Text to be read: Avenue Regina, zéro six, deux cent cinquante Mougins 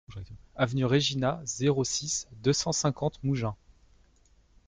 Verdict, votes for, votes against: accepted, 2, 1